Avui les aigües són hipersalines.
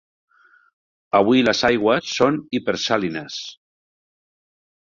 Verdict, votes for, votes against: rejected, 0, 2